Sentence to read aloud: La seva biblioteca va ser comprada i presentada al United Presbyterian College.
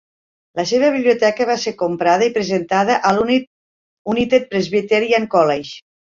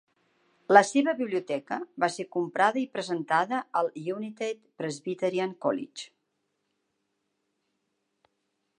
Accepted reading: second